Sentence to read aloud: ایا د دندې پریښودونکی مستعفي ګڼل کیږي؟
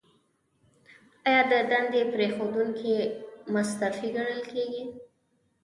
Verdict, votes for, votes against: accepted, 2, 0